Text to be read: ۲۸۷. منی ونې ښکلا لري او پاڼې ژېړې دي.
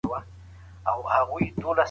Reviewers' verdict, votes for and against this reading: rejected, 0, 2